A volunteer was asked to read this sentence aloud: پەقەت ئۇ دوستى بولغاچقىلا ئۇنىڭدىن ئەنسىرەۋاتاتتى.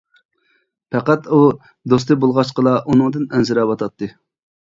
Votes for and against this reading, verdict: 2, 0, accepted